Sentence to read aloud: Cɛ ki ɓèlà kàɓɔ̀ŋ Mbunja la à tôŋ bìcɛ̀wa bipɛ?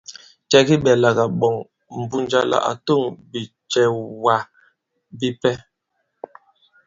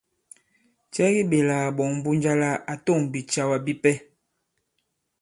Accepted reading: second